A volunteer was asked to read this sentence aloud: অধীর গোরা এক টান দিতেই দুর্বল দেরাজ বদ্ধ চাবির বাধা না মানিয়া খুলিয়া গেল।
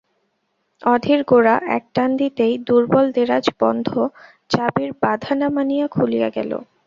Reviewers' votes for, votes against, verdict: 0, 2, rejected